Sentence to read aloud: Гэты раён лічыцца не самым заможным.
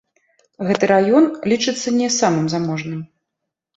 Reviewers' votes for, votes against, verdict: 0, 2, rejected